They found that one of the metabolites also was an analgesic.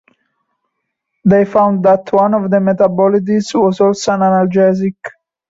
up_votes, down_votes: 0, 2